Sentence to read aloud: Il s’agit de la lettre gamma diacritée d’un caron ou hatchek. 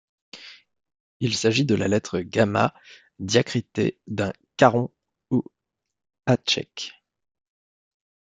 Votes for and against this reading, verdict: 0, 2, rejected